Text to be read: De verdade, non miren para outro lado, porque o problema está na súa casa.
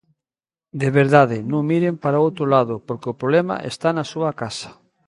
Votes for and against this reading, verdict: 2, 0, accepted